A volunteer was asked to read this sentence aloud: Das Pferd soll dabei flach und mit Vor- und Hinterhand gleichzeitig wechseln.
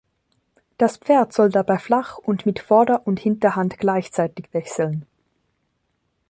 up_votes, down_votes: 0, 2